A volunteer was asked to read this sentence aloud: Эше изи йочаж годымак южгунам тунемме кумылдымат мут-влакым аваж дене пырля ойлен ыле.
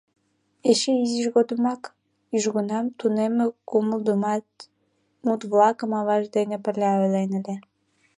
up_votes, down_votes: 1, 2